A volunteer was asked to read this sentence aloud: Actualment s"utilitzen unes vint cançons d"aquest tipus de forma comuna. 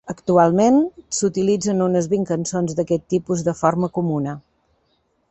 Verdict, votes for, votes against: accepted, 2, 0